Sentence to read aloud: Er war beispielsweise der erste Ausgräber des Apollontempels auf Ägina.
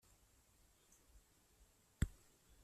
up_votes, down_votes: 0, 2